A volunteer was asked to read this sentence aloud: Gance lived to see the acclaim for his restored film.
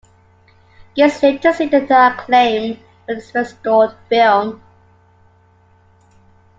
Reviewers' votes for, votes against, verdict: 1, 2, rejected